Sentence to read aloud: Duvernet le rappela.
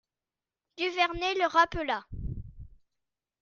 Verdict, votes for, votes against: accepted, 2, 0